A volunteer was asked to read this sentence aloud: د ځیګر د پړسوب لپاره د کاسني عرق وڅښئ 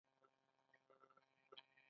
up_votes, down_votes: 2, 1